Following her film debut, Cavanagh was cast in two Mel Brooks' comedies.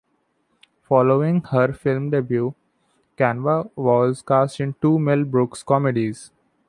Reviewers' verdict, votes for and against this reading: rejected, 0, 2